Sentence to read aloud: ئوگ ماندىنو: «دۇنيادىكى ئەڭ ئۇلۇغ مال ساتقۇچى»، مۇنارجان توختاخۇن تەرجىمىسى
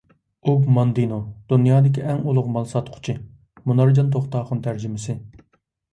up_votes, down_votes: 2, 0